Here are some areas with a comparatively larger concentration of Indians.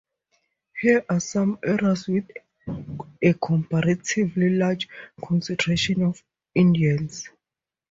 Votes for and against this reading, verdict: 4, 0, accepted